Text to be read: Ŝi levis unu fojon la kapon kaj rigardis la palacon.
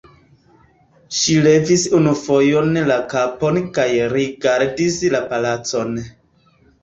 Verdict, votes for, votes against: accepted, 2, 0